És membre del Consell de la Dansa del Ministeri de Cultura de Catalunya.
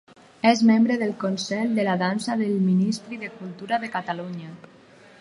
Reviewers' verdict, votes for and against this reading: rejected, 2, 4